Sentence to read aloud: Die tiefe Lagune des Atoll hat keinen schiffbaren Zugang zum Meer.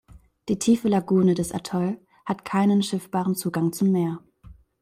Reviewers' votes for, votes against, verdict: 2, 0, accepted